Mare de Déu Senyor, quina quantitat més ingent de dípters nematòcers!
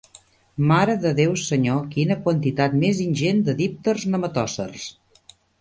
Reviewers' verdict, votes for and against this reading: accepted, 2, 0